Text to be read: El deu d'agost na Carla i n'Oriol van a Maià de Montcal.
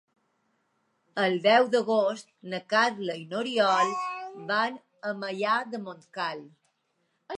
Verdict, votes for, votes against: accepted, 2, 0